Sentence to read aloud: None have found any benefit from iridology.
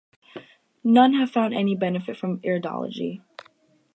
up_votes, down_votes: 4, 0